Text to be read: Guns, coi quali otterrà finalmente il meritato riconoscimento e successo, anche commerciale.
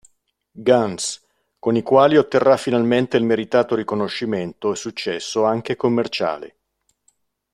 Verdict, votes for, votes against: rejected, 1, 2